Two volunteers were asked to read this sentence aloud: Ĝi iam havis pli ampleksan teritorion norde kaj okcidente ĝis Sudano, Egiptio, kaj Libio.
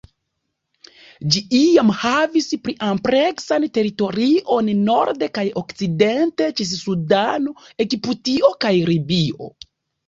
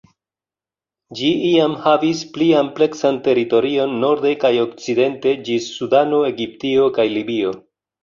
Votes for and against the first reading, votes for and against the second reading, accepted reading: 0, 2, 3, 1, second